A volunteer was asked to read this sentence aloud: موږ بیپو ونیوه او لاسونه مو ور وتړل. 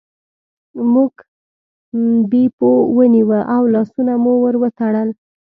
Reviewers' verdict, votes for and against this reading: accepted, 2, 0